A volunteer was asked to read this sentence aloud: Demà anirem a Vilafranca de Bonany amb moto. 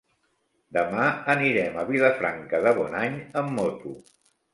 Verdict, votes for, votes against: accepted, 3, 0